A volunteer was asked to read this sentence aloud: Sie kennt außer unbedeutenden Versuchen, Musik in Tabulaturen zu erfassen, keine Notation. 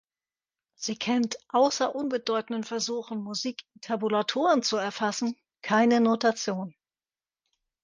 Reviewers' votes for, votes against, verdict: 0, 2, rejected